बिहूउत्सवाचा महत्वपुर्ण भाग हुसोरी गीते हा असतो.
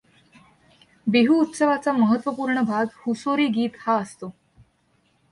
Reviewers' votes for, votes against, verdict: 2, 0, accepted